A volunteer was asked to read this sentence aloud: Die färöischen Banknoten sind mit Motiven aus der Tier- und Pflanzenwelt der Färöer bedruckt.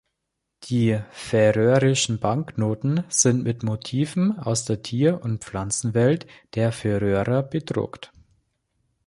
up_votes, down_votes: 0, 2